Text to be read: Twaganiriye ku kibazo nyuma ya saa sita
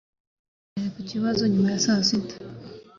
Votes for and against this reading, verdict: 2, 0, accepted